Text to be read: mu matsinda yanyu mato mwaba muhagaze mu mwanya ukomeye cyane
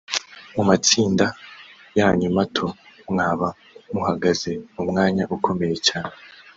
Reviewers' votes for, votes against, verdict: 3, 0, accepted